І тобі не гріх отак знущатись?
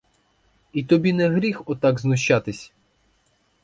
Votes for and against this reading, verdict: 2, 2, rejected